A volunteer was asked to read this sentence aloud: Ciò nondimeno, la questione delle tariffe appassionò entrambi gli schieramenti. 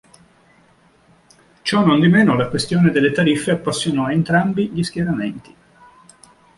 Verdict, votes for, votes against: accepted, 2, 0